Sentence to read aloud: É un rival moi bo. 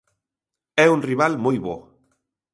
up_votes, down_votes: 2, 0